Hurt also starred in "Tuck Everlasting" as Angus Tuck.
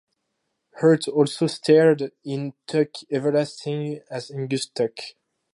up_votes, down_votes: 2, 0